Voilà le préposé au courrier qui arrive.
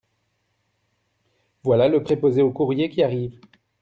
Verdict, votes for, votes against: accepted, 2, 0